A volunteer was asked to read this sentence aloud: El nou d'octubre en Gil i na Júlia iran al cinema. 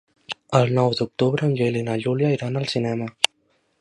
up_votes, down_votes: 2, 0